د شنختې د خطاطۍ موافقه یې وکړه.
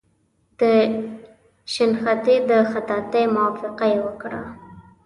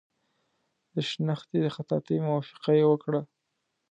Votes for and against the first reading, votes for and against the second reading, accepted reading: 0, 2, 2, 0, second